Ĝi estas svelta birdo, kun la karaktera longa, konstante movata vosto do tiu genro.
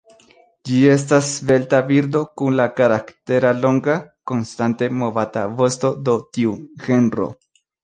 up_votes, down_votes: 0, 2